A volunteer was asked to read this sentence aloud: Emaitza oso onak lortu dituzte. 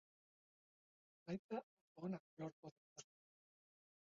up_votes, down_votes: 0, 3